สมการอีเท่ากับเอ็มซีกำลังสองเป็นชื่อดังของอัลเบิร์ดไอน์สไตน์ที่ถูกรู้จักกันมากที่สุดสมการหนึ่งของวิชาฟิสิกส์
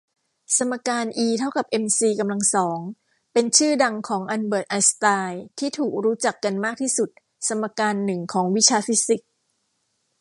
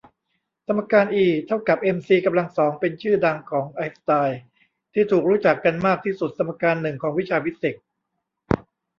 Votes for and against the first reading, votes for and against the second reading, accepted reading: 2, 0, 0, 2, first